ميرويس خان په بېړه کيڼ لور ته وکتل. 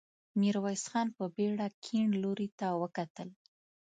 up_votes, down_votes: 1, 2